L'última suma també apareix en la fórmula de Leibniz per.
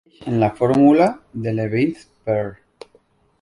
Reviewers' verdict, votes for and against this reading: rejected, 1, 2